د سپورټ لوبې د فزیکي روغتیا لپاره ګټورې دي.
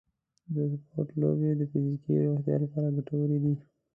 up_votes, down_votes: 0, 2